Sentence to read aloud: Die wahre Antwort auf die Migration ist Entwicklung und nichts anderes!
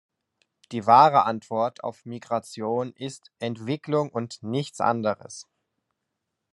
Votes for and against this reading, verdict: 1, 2, rejected